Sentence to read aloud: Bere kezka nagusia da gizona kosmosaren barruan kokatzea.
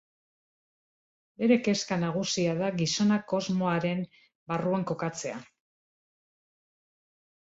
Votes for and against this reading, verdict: 1, 2, rejected